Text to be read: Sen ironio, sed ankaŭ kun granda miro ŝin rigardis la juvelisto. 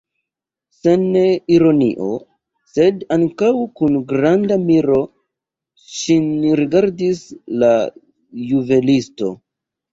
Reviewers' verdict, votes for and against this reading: rejected, 0, 2